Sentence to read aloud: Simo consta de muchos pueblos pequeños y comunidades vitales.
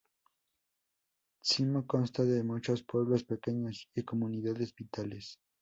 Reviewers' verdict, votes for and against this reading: rejected, 2, 2